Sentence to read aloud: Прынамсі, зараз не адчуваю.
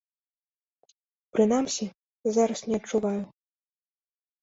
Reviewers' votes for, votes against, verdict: 2, 0, accepted